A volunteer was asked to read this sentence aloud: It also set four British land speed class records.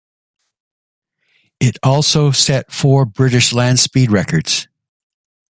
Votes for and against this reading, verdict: 0, 2, rejected